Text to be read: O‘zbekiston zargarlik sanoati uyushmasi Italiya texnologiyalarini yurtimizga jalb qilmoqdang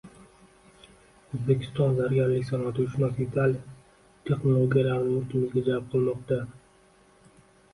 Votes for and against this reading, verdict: 0, 2, rejected